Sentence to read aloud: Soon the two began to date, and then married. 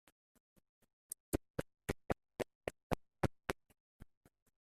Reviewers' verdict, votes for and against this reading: rejected, 0, 2